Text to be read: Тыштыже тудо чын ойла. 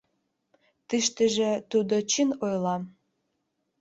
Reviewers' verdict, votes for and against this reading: rejected, 2, 4